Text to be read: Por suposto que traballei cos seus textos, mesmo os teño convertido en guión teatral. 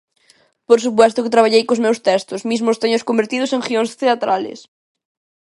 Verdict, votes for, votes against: rejected, 0, 2